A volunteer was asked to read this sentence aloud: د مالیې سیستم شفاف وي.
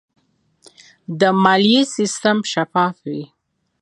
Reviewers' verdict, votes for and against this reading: rejected, 0, 2